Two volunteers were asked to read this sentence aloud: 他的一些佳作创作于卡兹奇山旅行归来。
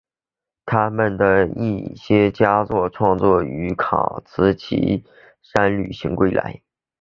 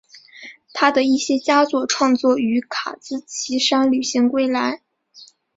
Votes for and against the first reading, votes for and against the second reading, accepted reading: 0, 2, 9, 0, second